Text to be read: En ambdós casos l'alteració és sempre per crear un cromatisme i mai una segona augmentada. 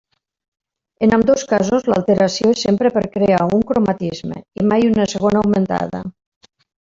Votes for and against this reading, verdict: 3, 0, accepted